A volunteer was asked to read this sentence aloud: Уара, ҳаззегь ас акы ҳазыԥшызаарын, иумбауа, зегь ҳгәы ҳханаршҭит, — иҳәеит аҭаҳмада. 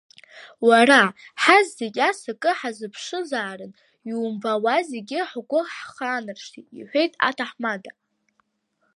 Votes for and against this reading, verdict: 2, 1, accepted